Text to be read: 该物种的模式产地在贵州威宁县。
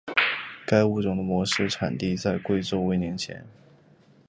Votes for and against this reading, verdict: 4, 0, accepted